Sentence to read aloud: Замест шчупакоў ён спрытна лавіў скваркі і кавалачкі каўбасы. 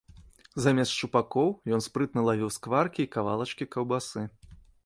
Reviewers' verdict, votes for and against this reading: accepted, 2, 0